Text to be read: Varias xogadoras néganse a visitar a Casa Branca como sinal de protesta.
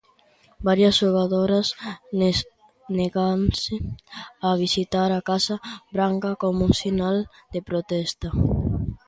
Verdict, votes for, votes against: rejected, 0, 2